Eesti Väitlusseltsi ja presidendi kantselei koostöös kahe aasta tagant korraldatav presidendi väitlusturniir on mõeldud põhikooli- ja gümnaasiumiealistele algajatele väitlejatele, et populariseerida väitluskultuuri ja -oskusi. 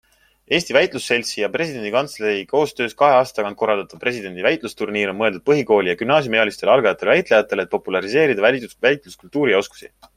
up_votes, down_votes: 3, 0